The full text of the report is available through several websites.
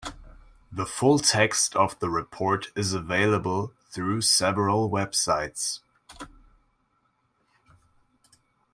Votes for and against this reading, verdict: 2, 0, accepted